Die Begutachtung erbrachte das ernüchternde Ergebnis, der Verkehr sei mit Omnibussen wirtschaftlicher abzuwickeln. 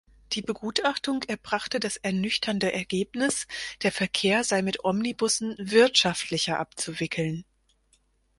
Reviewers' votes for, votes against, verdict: 4, 0, accepted